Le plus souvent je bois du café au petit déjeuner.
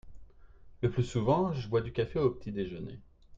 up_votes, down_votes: 2, 0